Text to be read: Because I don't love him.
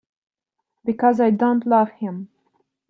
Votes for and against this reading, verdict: 2, 0, accepted